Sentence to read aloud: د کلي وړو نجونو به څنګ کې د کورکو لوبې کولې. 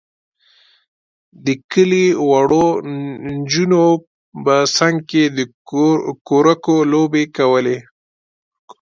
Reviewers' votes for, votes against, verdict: 1, 2, rejected